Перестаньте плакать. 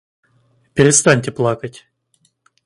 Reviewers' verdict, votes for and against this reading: accepted, 2, 0